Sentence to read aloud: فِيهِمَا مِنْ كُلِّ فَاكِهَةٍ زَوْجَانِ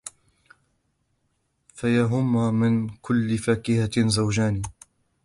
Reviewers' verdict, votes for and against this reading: rejected, 1, 2